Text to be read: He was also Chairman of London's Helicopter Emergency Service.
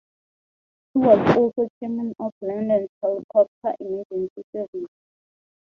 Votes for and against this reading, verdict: 0, 2, rejected